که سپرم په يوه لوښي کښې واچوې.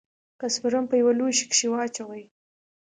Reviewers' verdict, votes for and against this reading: accepted, 2, 0